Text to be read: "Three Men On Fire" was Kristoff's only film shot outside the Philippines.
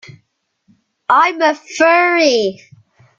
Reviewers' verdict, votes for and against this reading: rejected, 0, 2